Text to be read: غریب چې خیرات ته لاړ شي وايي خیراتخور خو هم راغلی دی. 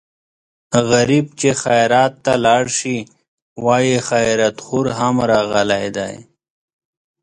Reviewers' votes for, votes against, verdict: 4, 1, accepted